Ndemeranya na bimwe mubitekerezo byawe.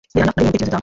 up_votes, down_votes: 0, 2